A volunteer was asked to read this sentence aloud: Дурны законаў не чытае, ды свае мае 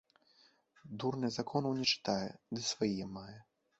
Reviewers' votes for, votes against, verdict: 1, 2, rejected